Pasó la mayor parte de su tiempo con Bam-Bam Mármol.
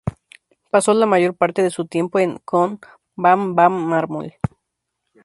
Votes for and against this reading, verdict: 0, 2, rejected